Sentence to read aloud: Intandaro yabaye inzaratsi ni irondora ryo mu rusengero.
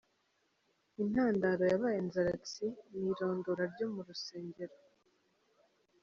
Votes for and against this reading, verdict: 3, 0, accepted